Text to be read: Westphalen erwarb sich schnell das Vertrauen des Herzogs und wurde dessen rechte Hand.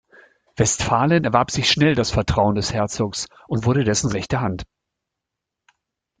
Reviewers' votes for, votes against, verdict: 2, 0, accepted